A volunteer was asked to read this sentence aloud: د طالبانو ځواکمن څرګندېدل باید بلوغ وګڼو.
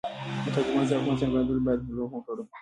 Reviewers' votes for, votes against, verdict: 3, 4, rejected